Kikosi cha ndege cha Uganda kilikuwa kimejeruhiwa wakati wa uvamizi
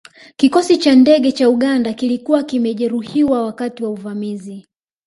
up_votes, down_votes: 3, 1